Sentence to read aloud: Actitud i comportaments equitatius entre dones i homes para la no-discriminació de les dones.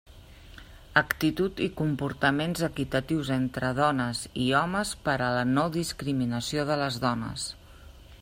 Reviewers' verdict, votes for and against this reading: accepted, 2, 0